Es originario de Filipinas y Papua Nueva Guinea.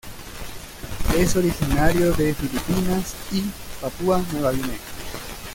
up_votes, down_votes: 1, 2